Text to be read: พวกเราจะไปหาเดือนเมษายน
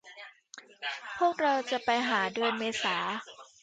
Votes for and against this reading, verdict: 0, 2, rejected